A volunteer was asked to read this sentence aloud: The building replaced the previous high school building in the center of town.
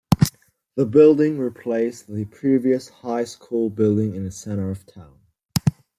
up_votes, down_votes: 0, 2